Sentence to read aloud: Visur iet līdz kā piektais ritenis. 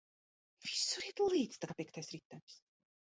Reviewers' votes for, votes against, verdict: 1, 2, rejected